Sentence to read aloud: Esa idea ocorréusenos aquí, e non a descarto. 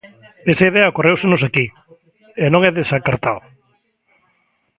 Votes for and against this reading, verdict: 0, 2, rejected